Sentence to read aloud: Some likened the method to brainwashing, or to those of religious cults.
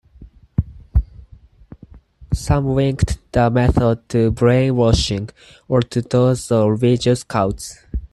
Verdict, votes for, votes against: rejected, 0, 4